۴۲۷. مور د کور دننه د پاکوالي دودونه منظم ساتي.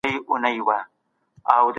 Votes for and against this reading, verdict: 0, 2, rejected